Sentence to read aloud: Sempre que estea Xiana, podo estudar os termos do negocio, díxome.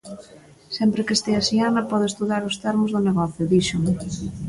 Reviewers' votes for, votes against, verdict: 1, 2, rejected